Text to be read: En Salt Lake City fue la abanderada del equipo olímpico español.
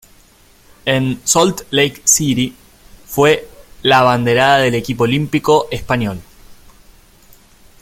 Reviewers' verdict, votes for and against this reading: accepted, 2, 0